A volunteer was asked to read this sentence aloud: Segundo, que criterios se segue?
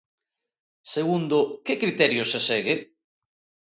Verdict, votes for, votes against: accepted, 2, 0